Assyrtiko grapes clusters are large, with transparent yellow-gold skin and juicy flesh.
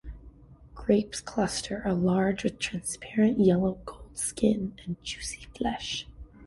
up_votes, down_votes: 0, 2